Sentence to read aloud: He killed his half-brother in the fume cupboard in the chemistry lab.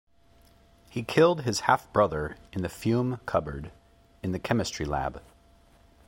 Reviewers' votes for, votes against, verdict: 2, 1, accepted